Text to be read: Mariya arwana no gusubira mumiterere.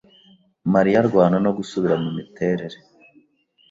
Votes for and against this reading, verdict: 2, 0, accepted